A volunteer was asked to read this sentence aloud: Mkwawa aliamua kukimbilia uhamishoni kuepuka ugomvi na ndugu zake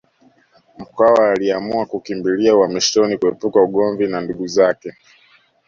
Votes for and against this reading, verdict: 2, 1, accepted